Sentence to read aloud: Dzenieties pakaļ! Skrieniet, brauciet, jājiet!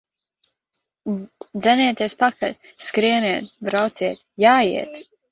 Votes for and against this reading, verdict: 0, 2, rejected